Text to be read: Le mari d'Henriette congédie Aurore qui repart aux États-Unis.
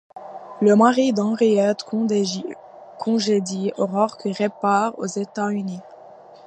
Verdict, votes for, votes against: rejected, 0, 2